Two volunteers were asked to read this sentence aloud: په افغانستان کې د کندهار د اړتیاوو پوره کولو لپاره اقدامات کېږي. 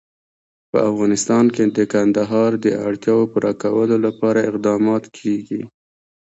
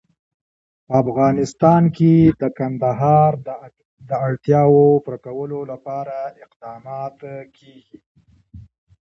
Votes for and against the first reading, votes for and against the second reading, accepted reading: 1, 2, 2, 0, second